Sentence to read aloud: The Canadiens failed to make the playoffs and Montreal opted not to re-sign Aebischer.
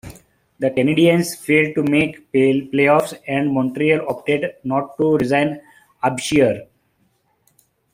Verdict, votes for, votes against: rejected, 1, 2